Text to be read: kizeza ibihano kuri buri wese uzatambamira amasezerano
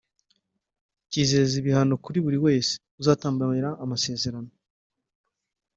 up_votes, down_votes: 1, 2